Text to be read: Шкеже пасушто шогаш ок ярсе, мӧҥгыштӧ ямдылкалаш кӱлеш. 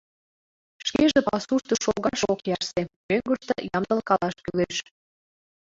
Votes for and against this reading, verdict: 1, 2, rejected